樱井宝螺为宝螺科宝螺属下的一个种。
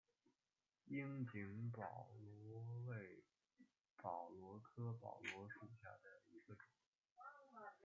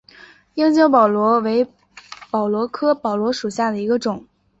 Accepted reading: second